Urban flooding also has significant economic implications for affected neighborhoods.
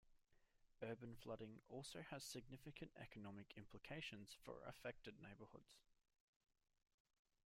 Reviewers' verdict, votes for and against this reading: accepted, 2, 1